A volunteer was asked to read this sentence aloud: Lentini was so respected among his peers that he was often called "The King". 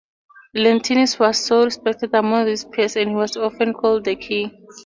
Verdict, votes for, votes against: rejected, 0, 2